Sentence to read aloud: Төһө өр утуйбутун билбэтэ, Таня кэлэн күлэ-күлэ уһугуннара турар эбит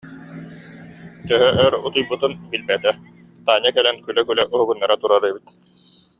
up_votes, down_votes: 2, 0